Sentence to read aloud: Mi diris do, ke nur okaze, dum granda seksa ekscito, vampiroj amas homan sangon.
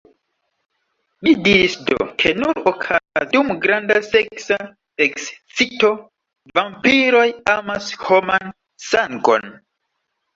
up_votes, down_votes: 0, 2